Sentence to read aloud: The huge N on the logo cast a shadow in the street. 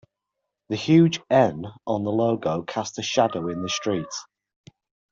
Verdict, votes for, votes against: rejected, 1, 2